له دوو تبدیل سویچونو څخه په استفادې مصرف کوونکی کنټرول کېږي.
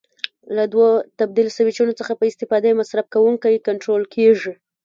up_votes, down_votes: 1, 2